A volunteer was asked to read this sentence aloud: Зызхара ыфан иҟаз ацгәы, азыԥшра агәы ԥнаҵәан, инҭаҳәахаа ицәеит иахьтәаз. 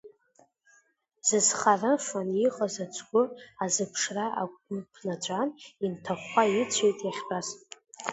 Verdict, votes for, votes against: rejected, 1, 2